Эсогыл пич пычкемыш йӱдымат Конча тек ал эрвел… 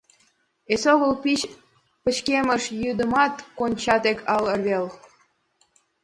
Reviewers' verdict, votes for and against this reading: accepted, 2, 0